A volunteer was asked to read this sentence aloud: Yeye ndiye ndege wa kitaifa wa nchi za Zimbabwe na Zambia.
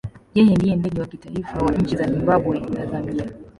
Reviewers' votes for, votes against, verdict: 1, 2, rejected